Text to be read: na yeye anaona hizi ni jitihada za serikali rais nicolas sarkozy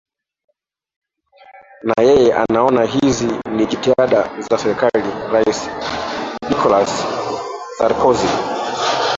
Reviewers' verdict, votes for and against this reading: rejected, 0, 3